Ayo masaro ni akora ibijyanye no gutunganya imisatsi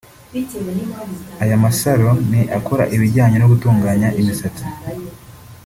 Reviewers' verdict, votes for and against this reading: rejected, 1, 2